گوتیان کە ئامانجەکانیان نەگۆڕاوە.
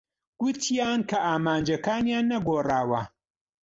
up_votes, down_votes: 2, 0